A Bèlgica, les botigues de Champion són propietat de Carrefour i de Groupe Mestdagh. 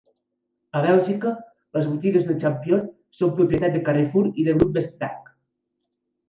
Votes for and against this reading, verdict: 1, 2, rejected